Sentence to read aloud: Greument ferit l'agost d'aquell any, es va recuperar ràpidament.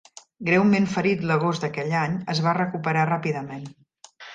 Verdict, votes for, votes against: accepted, 3, 0